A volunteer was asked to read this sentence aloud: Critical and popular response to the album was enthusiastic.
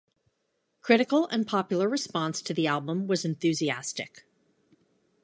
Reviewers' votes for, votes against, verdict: 2, 0, accepted